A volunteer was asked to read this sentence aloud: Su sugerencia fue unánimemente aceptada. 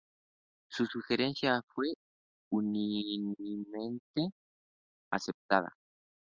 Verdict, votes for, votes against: rejected, 0, 4